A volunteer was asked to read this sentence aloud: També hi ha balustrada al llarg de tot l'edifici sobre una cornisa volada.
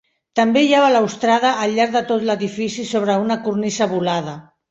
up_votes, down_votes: 3, 4